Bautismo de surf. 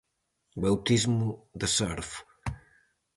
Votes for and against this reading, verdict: 0, 4, rejected